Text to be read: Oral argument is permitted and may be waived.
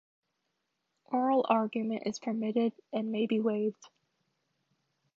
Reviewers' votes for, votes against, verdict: 2, 0, accepted